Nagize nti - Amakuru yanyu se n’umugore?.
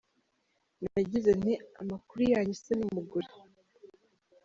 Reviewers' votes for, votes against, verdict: 2, 0, accepted